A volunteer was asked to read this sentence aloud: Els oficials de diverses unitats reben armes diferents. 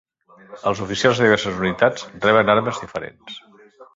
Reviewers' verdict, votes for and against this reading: accepted, 2, 1